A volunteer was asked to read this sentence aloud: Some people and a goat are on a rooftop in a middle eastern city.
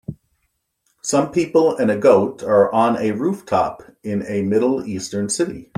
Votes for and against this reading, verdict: 2, 0, accepted